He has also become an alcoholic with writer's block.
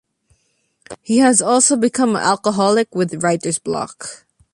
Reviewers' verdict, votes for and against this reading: accepted, 2, 1